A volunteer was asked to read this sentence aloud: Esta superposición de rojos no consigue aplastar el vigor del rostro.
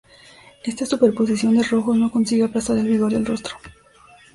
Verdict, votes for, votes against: accepted, 2, 0